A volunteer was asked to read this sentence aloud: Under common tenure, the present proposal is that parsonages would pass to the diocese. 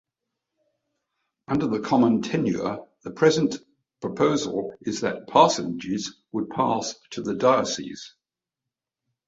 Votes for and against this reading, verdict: 0, 2, rejected